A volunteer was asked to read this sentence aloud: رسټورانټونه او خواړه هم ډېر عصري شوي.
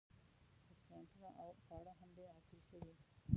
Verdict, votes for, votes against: rejected, 0, 2